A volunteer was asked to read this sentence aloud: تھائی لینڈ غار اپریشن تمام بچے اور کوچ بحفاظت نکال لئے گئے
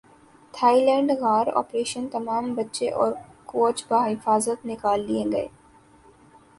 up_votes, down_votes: 5, 1